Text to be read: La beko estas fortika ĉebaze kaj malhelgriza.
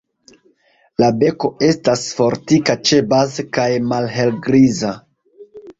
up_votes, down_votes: 2, 0